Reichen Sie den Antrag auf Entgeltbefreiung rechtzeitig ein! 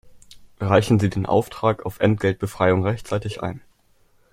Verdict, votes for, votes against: rejected, 0, 3